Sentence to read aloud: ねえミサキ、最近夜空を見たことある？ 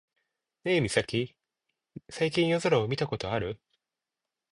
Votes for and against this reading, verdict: 2, 0, accepted